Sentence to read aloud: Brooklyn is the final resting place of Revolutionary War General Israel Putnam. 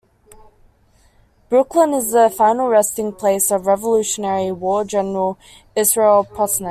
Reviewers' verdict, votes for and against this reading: accepted, 2, 1